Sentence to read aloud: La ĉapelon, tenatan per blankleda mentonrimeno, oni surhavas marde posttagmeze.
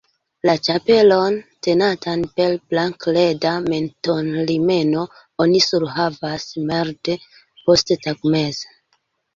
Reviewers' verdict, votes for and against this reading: rejected, 0, 2